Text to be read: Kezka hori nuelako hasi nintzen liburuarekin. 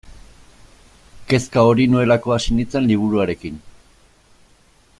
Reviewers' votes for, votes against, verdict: 2, 0, accepted